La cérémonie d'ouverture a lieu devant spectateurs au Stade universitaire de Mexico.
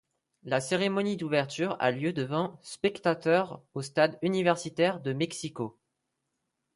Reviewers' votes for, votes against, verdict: 2, 0, accepted